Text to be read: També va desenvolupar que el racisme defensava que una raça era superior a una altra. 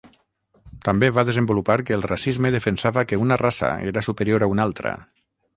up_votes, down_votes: 0, 3